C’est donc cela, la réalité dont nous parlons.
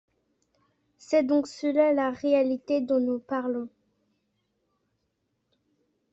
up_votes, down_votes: 0, 2